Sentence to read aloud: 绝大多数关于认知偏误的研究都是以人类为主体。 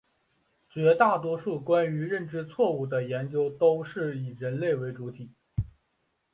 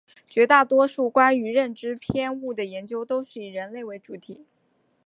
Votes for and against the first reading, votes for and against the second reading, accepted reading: 1, 2, 4, 1, second